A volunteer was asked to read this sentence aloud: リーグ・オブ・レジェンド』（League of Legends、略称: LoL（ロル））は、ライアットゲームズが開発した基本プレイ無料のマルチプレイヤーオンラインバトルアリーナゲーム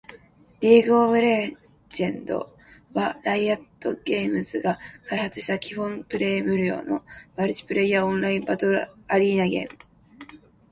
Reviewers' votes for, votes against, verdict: 1, 2, rejected